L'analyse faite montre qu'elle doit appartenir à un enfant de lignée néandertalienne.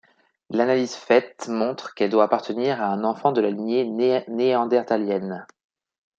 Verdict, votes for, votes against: rejected, 1, 2